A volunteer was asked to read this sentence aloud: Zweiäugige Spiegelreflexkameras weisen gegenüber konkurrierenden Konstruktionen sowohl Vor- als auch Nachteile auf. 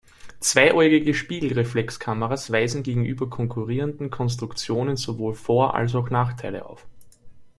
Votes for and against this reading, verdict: 2, 0, accepted